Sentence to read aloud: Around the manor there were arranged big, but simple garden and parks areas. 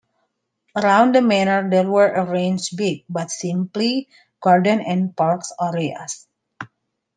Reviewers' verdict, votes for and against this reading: rejected, 0, 2